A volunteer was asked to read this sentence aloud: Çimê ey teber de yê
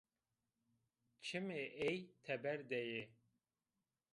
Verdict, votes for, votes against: accepted, 2, 0